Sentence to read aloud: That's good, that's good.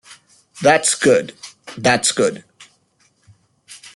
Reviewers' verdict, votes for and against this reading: accepted, 2, 0